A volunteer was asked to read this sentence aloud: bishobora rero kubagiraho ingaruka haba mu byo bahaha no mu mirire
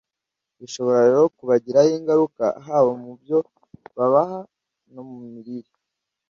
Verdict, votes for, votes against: rejected, 1, 2